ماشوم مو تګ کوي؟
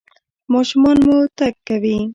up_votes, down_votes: 2, 1